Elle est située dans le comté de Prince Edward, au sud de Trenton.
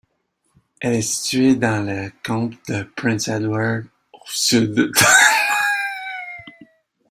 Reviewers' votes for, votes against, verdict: 0, 2, rejected